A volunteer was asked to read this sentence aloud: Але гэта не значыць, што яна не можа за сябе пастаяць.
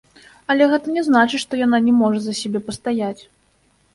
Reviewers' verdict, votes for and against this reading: accepted, 2, 0